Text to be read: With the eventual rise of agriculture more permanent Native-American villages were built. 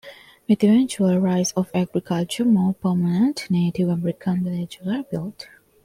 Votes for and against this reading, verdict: 2, 0, accepted